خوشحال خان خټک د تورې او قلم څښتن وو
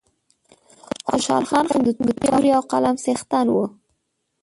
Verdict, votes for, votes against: rejected, 1, 2